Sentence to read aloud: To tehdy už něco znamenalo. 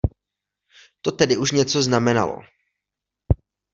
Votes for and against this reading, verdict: 0, 2, rejected